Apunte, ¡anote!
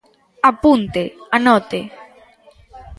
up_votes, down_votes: 1, 2